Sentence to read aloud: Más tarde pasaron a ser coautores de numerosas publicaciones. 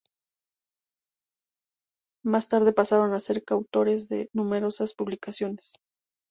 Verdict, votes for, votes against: rejected, 2, 2